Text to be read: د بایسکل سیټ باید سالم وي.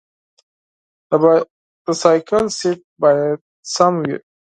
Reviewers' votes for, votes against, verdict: 2, 4, rejected